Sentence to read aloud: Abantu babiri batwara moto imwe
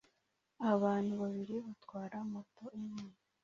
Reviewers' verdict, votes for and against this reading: accepted, 2, 0